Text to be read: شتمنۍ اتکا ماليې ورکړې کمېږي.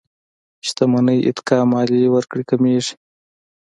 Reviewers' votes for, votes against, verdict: 2, 0, accepted